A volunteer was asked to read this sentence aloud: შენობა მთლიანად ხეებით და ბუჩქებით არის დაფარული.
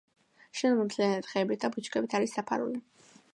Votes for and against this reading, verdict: 2, 0, accepted